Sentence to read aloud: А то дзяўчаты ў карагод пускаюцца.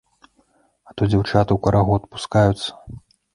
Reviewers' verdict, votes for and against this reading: accepted, 2, 0